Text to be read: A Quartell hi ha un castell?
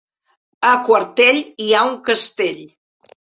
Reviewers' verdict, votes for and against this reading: rejected, 0, 2